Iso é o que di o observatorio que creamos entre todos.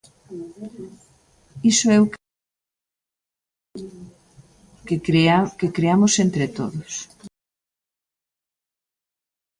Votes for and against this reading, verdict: 1, 2, rejected